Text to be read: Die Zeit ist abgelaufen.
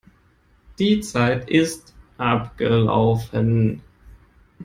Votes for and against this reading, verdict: 2, 0, accepted